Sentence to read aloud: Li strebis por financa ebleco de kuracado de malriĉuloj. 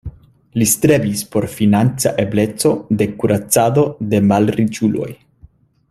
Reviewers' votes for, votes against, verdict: 2, 0, accepted